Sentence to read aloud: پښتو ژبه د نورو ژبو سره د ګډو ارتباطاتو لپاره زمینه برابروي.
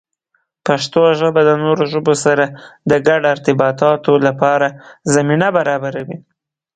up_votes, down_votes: 15, 0